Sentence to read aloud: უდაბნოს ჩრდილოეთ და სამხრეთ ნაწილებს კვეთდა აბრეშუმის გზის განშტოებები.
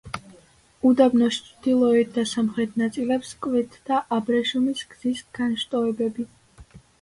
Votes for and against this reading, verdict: 2, 0, accepted